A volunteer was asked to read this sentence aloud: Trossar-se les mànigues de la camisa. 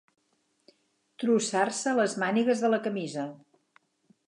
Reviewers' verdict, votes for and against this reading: accepted, 4, 0